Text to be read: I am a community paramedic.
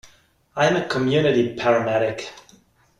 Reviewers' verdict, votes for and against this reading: accepted, 2, 0